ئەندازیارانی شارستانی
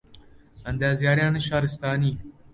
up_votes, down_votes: 2, 0